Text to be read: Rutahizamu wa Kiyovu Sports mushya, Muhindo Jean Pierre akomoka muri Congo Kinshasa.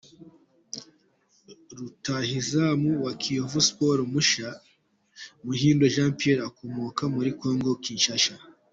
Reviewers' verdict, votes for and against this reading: rejected, 0, 2